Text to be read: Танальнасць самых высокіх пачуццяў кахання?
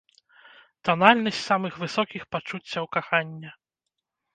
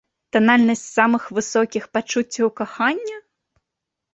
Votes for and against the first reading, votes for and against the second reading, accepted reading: 0, 2, 2, 0, second